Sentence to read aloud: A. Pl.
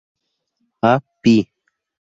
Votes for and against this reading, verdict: 2, 0, accepted